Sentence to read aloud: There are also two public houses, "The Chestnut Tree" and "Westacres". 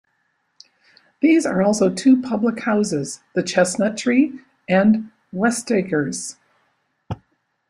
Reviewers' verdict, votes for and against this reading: rejected, 0, 2